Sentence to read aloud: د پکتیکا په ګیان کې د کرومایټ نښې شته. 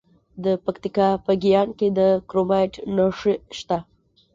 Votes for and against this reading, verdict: 1, 2, rejected